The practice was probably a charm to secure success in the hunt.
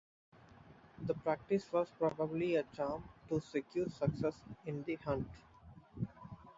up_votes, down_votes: 1, 4